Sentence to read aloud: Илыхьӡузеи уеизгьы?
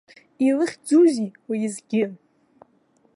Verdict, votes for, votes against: accepted, 3, 2